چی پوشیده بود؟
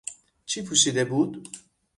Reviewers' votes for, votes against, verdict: 6, 0, accepted